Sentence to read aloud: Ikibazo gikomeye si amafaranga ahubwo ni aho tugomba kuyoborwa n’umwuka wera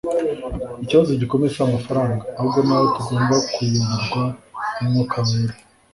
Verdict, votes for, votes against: rejected, 1, 2